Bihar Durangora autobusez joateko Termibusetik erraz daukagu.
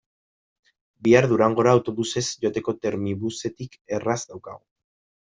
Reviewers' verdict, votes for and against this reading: rejected, 1, 2